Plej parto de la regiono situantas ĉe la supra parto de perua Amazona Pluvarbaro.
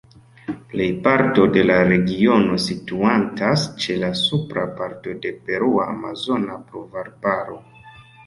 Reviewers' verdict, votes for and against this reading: accepted, 2, 0